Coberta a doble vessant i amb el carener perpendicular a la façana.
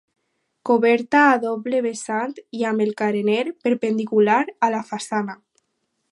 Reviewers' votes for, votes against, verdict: 4, 0, accepted